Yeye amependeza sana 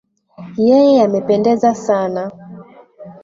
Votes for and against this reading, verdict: 1, 2, rejected